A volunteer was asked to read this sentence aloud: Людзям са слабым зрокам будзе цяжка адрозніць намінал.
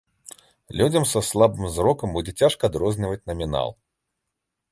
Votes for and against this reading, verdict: 1, 2, rejected